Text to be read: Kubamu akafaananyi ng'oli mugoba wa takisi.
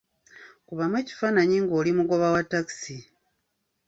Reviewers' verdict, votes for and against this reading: rejected, 1, 2